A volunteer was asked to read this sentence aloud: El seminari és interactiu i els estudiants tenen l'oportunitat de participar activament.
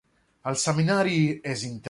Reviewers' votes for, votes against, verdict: 0, 2, rejected